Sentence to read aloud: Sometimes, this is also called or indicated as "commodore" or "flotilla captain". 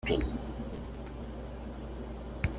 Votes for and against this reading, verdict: 0, 2, rejected